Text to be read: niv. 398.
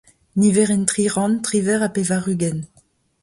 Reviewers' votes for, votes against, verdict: 0, 2, rejected